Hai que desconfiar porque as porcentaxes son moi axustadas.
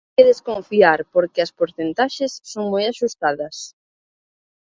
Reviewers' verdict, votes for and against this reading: rejected, 0, 2